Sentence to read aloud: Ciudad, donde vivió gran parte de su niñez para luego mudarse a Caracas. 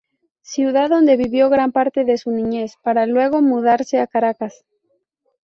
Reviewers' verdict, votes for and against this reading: accepted, 2, 0